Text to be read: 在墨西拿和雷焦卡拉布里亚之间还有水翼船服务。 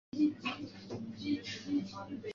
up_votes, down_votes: 1, 2